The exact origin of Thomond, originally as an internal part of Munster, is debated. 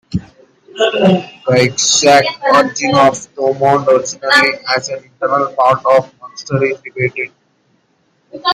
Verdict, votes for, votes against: rejected, 1, 2